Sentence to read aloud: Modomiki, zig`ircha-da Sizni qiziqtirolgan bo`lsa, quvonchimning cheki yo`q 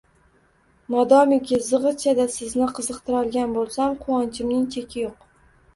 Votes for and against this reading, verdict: 0, 2, rejected